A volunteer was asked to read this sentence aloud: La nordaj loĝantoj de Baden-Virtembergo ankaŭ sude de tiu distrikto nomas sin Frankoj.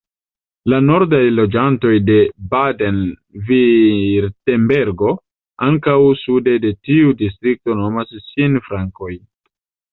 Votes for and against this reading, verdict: 1, 2, rejected